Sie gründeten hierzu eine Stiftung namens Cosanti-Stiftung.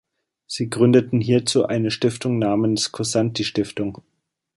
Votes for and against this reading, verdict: 2, 0, accepted